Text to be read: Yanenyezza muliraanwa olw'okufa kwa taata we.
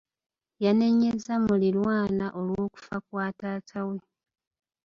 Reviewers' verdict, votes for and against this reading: accepted, 2, 1